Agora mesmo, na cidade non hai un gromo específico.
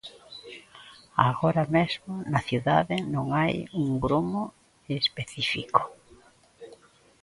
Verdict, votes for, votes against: rejected, 1, 2